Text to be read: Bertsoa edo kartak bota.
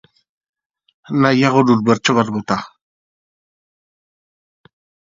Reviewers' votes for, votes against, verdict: 0, 2, rejected